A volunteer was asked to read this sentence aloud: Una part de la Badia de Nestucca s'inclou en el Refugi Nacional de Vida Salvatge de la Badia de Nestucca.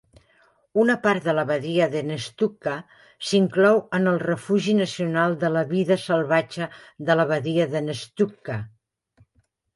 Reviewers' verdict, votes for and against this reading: rejected, 1, 3